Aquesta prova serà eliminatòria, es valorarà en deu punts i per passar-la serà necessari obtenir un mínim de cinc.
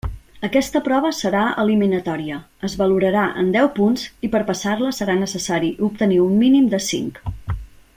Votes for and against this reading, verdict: 3, 0, accepted